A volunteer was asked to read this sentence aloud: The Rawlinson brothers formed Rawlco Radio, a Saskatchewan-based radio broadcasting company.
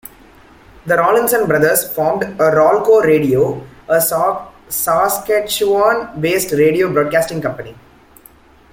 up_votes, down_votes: 1, 2